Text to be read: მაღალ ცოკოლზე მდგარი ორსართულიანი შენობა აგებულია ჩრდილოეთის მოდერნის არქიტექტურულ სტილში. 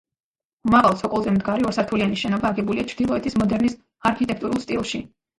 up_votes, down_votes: 1, 2